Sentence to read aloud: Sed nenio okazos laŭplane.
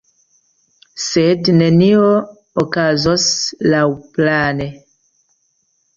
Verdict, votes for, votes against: accepted, 2, 0